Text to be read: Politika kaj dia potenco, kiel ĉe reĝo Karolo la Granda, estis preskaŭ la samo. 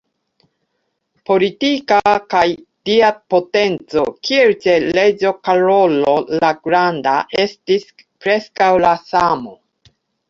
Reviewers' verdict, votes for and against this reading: accepted, 2, 0